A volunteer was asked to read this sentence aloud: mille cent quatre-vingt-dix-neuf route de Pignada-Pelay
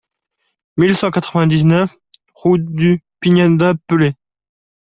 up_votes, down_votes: 1, 2